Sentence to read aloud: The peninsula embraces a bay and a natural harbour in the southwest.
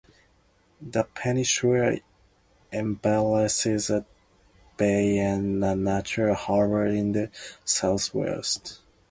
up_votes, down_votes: 0, 4